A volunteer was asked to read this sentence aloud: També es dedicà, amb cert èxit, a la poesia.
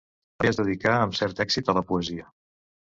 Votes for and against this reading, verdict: 0, 2, rejected